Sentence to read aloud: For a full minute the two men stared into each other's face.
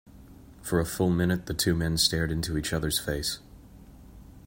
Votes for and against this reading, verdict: 2, 0, accepted